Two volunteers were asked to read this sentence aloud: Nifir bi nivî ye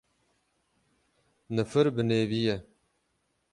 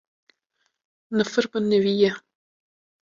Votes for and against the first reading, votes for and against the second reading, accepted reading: 6, 6, 2, 1, second